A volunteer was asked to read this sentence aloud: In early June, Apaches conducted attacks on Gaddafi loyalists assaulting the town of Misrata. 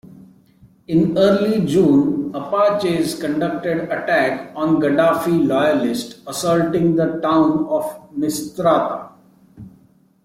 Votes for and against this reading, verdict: 0, 2, rejected